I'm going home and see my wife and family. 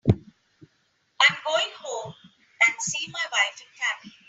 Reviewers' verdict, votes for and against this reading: accepted, 2, 0